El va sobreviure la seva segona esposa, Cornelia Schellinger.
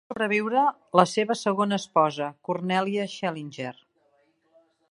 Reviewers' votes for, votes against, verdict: 1, 2, rejected